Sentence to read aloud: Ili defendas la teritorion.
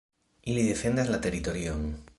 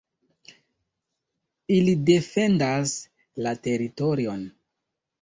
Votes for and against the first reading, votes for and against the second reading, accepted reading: 2, 0, 1, 2, first